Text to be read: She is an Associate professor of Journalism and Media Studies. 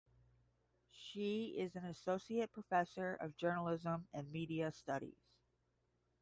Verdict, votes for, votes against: accepted, 10, 0